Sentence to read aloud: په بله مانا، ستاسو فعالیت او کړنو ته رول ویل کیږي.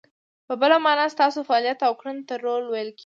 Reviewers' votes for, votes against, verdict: 2, 0, accepted